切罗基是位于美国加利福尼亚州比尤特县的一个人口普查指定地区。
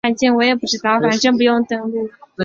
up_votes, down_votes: 0, 4